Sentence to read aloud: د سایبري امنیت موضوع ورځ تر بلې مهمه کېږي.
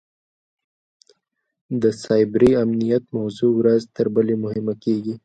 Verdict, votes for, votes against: rejected, 1, 2